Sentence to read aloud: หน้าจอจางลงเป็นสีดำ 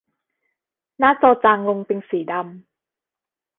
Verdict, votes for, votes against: accepted, 2, 0